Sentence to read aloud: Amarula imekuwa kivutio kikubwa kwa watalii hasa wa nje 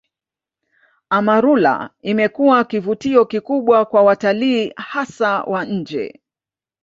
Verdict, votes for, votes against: accepted, 2, 1